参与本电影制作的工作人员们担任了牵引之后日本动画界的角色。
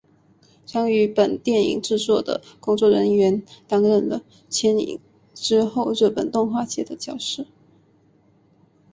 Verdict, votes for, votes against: rejected, 1, 2